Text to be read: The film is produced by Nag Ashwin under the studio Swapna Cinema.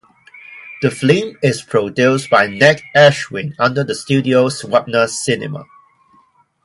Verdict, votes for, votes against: rejected, 0, 2